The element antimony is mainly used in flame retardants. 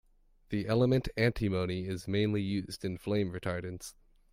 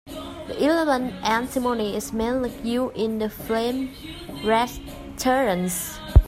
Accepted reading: first